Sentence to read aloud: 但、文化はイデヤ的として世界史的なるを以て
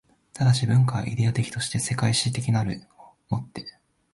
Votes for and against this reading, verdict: 1, 2, rejected